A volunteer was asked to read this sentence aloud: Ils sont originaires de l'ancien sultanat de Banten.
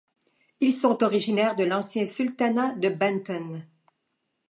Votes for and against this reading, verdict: 2, 0, accepted